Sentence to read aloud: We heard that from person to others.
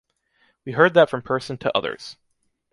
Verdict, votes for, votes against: accepted, 2, 0